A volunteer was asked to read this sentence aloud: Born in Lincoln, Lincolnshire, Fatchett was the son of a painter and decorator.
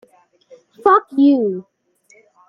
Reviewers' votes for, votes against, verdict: 0, 2, rejected